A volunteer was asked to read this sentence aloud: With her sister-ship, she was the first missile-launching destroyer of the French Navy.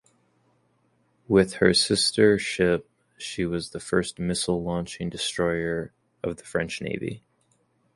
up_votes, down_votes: 4, 0